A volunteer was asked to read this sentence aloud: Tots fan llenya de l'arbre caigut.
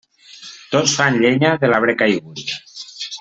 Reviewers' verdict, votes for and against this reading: accepted, 2, 1